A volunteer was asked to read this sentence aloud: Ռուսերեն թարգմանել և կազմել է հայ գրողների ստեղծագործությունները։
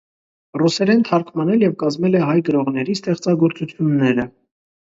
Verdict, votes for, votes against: accepted, 2, 0